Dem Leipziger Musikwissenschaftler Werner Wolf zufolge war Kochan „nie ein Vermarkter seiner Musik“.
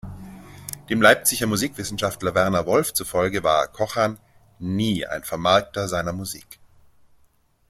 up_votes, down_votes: 2, 0